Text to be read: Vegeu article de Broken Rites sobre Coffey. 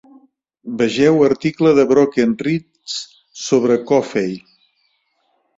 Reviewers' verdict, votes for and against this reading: accepted, 2, 0